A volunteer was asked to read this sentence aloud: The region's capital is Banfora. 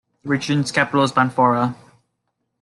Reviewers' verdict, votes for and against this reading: accepted, 2, 1